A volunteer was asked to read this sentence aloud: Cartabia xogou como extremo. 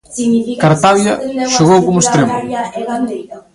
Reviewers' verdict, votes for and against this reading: rejected, 0, 2